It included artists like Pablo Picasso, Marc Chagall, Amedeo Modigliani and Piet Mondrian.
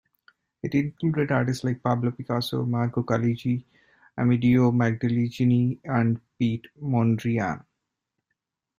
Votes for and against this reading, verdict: 0, 2, rejected